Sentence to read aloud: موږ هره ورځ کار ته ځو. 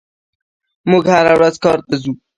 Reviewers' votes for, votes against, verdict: 1, 2, rejected